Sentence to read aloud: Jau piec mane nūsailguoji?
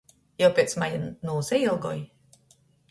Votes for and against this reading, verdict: 0, 2, rejected